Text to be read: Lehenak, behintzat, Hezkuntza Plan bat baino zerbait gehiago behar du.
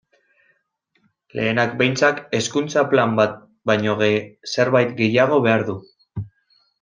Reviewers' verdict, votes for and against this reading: rejected, 1, 2